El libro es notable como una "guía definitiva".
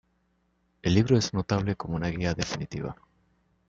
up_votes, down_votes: 0, 2